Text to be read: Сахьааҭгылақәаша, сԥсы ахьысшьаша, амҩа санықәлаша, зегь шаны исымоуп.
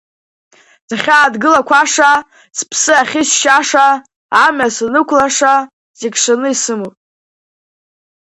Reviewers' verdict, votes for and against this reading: accepted, 2, 1